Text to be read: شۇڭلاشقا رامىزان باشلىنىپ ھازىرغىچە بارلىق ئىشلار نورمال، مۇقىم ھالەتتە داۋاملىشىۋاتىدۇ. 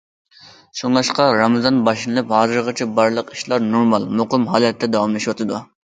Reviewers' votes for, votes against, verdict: 2, 0, accepted